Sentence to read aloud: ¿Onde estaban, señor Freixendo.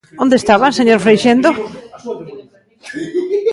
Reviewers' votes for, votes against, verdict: 2, 1, accepted